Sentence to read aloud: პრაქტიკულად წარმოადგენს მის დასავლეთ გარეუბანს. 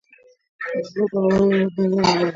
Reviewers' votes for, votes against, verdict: 1, 2, rejected